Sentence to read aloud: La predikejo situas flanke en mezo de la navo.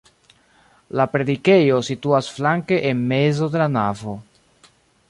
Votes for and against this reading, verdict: 3, 0, accepted